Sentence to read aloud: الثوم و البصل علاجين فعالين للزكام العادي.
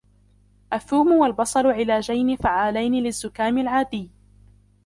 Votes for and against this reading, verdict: 1, 2, rejected